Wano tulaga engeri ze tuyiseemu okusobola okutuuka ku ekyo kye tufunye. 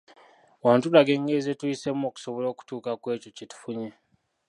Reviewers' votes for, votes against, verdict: 0, 2, rejected